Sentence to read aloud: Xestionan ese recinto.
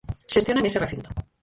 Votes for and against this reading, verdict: 0, 4, rejected